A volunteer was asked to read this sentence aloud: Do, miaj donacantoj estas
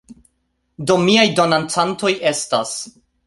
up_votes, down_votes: 3, 1